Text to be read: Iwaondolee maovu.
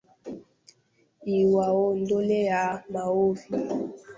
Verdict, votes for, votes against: rejected, 0, 2